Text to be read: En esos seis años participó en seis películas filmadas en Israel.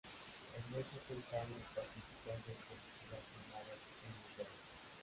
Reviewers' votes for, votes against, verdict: 0, 2, rejected